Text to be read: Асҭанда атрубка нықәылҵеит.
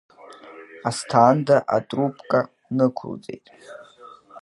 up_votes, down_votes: 3, 0